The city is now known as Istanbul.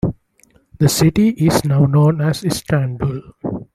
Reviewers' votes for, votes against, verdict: 2, 0, accepted